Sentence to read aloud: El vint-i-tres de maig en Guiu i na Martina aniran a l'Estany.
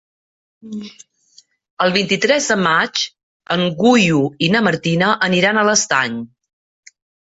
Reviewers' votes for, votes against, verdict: 2, 3, rejected